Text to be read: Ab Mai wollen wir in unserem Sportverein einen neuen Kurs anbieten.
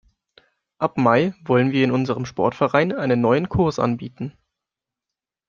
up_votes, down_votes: 2, 0